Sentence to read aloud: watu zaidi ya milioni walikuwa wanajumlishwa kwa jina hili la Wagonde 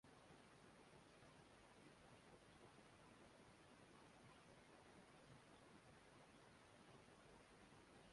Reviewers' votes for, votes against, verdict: 0, 2, rejected